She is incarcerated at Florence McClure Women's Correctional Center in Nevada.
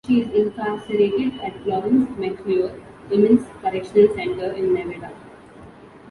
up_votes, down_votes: 0, 2